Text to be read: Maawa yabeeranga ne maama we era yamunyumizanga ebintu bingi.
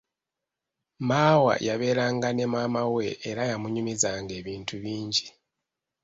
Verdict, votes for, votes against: accepted, 2, 1